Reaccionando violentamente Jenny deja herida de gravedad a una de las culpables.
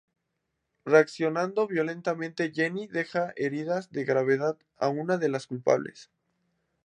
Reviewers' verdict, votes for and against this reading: rejected, 0, 2